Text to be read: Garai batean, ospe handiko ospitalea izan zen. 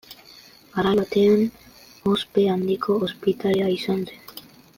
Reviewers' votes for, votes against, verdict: 0, 2, rejected